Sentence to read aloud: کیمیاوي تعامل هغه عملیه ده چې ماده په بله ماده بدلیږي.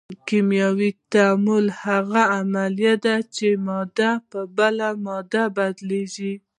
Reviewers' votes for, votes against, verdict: 1, 2, rejected